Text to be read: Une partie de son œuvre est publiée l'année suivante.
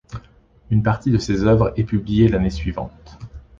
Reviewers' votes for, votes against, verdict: 1, 2, rejected